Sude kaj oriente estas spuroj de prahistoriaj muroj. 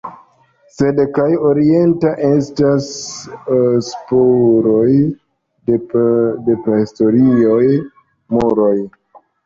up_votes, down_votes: 1, 2